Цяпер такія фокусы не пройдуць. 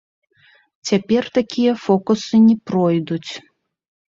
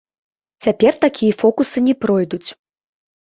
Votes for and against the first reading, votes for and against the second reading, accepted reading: 2, 1, 0, 2, first